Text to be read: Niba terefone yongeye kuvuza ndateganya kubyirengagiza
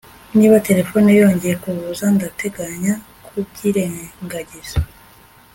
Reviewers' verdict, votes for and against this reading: accepted, 2, 0